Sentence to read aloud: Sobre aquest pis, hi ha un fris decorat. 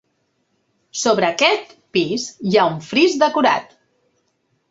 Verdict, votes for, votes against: accepted, 2, 0